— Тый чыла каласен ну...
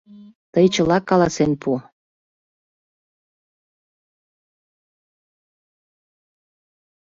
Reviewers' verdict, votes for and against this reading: rejected, 0, 2